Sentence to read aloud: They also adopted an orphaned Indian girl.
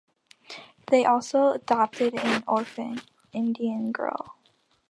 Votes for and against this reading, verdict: 1, 2, rejected